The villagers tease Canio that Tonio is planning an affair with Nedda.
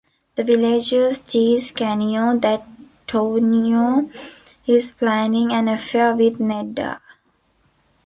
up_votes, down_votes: 2, 1